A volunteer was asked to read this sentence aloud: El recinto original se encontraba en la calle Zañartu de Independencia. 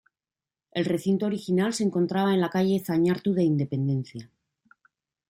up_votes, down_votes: 2, 0